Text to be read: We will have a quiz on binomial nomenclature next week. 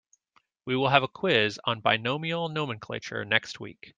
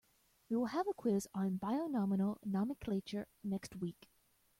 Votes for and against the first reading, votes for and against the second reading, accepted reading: 2, 0, 0, 2, first